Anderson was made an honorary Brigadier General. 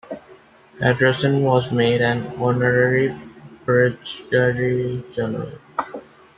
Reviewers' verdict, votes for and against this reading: rejected, 1, 2